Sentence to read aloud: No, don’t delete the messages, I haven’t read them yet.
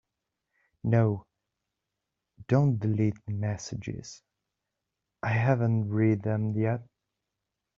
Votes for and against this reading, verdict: 3, 0, accepted